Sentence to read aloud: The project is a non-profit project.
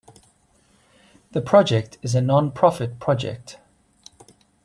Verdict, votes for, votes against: accepted, 2, 0